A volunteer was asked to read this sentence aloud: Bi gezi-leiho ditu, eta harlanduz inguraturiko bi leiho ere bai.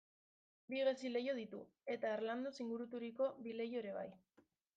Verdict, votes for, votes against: rejected, 1, 2